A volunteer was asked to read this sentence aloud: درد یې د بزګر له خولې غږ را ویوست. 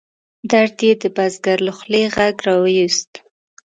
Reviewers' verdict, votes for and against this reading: accepted, 2, 0